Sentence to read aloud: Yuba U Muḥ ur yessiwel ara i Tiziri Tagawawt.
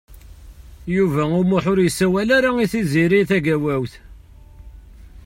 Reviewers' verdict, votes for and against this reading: rejected, 0, 2